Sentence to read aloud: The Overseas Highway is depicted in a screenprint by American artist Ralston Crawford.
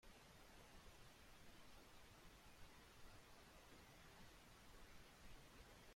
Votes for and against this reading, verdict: 0, 2, rejected